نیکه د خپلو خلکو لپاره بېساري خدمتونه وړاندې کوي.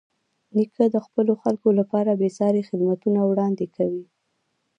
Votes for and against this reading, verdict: 0, 2, rejected